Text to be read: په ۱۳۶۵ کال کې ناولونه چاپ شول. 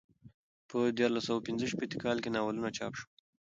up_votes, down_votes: 0, 2